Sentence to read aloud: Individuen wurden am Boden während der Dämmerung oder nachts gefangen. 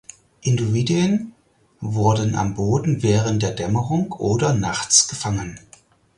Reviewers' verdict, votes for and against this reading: rejected, 0, 4